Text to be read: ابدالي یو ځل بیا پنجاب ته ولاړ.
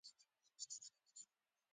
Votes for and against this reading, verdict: 0, 2, rejected